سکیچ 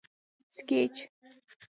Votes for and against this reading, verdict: 2, 3, rejected